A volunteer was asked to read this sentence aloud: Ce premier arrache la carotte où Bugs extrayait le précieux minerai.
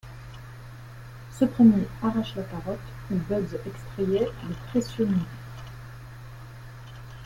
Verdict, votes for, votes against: accepted, 2, 1